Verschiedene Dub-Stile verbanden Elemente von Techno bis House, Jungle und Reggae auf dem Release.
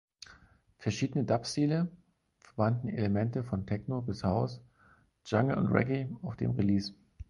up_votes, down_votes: 4, 0